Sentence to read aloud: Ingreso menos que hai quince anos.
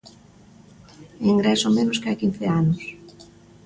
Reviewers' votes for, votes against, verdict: 2, 0, accepted